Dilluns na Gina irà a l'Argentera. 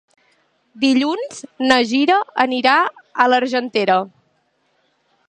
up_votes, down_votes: 1, 2